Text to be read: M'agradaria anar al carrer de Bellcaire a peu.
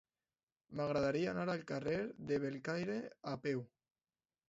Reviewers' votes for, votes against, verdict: 2, 0, accepted